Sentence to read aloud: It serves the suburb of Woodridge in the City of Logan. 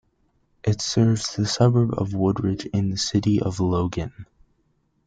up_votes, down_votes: 2, 0